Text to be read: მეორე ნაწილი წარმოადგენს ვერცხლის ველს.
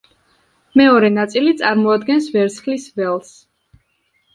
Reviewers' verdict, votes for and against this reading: accepted, 2, 0